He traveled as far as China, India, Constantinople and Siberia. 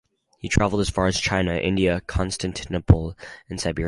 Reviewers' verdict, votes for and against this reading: rejected, 2, 2